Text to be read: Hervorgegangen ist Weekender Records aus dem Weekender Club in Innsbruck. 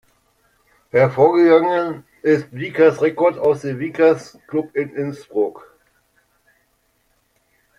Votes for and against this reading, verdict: 0, 2, rejected